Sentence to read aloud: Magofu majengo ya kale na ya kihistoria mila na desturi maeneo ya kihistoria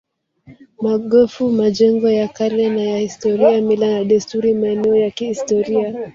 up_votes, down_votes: 0, 2